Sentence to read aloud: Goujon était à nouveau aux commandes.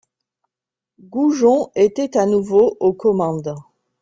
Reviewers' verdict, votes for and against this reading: accepted, 2, 0